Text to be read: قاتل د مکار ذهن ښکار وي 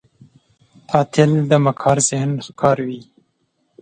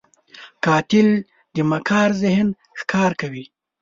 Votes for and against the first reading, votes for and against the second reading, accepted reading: 2, 0, 0, 2, first